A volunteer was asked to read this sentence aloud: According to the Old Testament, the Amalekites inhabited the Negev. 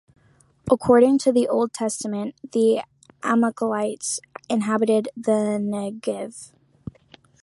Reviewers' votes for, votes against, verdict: 1, 2, rejected